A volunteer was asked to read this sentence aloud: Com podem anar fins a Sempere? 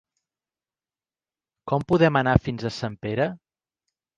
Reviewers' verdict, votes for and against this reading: accepted, 2, 1